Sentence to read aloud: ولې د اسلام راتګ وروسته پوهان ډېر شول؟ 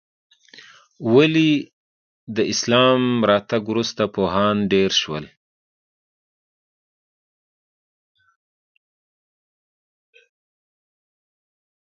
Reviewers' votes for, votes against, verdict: 0, 2, rejected